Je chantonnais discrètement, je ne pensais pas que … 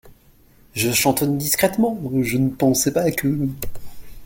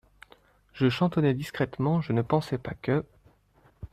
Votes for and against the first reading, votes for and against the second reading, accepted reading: 0, 2, 2, 0, second